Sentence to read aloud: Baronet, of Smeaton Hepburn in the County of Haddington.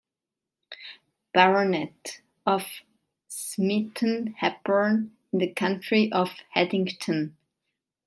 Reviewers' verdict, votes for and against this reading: rejected, 0, 3